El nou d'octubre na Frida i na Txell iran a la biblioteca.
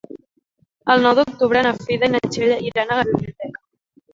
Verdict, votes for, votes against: rejected, 1, 2